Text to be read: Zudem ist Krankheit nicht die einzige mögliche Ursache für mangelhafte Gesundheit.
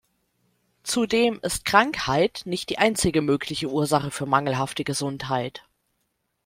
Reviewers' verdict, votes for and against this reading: accepted, 2, 0